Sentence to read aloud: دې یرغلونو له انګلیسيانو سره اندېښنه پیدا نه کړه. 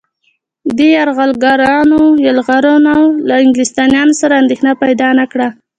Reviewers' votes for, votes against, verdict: 1, 2, rejected